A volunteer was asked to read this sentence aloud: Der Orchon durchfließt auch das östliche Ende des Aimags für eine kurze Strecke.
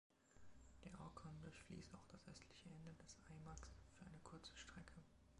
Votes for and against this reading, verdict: 0, 2, rejected